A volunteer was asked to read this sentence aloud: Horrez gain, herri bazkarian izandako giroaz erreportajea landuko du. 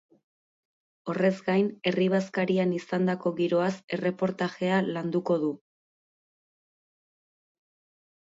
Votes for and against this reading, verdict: 2, 2, rejected